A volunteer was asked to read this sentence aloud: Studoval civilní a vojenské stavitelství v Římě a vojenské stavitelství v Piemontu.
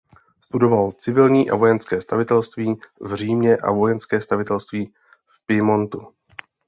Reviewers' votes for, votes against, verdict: 2, 0, accepted